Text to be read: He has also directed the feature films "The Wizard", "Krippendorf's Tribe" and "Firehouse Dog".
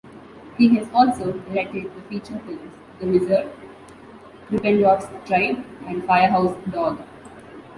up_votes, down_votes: 2, 1